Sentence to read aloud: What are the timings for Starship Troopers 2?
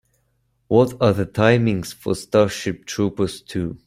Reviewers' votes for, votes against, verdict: 0, 2, rejected